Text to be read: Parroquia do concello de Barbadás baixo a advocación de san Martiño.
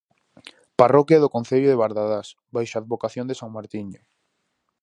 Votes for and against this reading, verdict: 2, 2, rejected